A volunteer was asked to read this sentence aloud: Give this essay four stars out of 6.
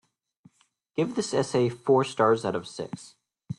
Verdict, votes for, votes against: rejected, 0, 2